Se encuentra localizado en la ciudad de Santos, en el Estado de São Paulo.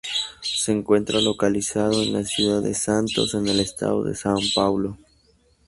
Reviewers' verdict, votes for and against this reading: rejected, 0, 2